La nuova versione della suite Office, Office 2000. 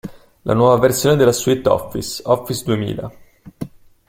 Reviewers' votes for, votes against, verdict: 0, 2, rejected